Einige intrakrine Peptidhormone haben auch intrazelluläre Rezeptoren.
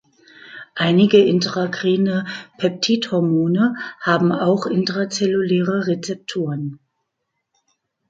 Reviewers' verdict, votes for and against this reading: accepted, 2, 0